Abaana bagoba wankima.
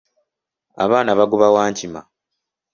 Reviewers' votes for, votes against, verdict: 2, 0, accepted